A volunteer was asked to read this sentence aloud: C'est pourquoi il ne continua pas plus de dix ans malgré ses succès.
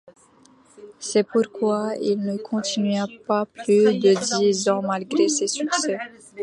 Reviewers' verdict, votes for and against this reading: accepted, 2, 0